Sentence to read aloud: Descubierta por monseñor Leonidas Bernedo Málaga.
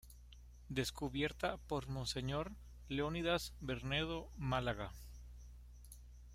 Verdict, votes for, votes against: accepted, 2, 0